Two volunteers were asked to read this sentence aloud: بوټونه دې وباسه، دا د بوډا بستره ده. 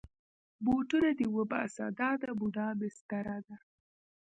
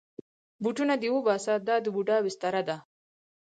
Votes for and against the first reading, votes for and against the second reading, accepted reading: 1, 2, 4, 0, second